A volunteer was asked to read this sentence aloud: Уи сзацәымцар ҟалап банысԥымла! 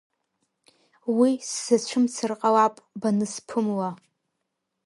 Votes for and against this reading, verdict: 1, 2, rejected